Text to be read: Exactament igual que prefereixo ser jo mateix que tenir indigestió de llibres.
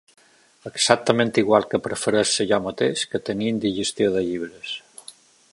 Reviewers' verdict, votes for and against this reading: rejected, 1, 2